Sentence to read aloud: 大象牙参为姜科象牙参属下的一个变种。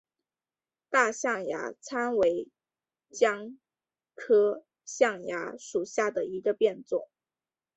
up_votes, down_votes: 3, 2